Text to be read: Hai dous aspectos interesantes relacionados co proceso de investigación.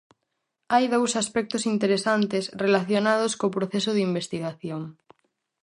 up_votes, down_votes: 4, 0